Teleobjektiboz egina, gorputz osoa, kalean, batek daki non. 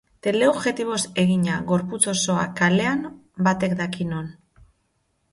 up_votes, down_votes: 2, 0